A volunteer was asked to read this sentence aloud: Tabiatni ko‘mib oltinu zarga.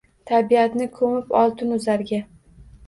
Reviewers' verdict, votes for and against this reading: accepted, 2, 0